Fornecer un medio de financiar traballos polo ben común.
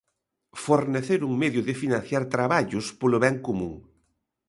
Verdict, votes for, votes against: accepted, 2, 0